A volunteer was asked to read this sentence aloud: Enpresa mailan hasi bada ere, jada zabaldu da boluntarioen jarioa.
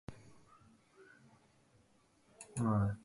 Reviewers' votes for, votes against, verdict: 0, 2, rejected